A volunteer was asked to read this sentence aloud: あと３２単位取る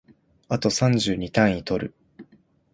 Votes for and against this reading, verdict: 0, 2, rejected